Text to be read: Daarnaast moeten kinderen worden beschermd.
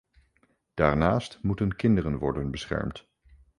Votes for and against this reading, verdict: 2, 0, accepted